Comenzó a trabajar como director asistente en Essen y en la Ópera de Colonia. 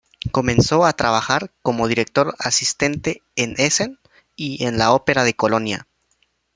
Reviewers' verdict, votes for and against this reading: accepted, 2, 0